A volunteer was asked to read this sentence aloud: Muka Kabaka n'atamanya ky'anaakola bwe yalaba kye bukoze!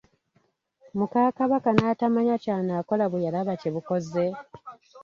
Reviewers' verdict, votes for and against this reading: rejected, 1, 2